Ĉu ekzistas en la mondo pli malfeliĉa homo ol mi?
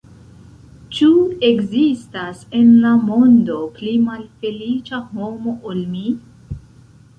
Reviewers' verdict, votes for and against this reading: rejected, 1, 2